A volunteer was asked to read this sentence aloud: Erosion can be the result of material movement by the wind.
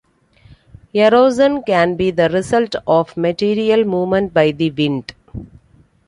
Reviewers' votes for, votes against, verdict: 2, 1, accepted